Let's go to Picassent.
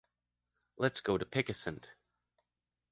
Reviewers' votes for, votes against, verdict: 1, 2, rejected